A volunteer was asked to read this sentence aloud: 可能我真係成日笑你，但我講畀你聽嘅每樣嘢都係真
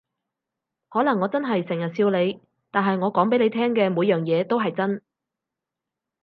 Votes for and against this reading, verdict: 2, 4, rejected